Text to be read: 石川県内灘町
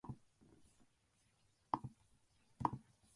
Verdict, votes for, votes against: rejected, 0, 2